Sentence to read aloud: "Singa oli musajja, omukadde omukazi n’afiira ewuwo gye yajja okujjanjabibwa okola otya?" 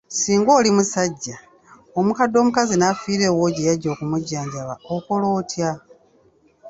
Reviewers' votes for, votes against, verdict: 2, 1, accepted